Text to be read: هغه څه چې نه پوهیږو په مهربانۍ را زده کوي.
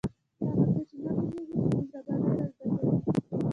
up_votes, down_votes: 0, 2